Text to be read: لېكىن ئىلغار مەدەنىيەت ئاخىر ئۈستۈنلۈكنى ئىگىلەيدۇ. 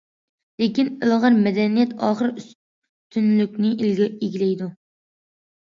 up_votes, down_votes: 0, 2